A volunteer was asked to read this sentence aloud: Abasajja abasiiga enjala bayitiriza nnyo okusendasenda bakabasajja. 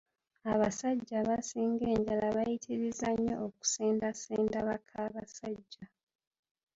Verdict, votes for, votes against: rejected, 1, 2